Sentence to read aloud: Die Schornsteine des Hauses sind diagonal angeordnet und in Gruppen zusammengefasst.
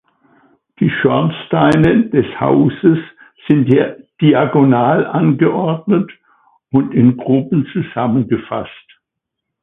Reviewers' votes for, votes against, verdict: 1, 2, rejected